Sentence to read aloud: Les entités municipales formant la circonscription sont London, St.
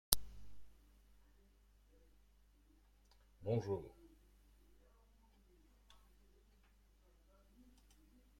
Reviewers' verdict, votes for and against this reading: rejected, 0, 2